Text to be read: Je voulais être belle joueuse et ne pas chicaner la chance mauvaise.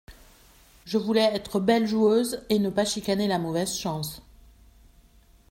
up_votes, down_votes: 1, 2